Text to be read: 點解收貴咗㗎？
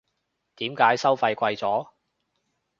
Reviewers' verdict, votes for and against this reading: rejected, 1, 2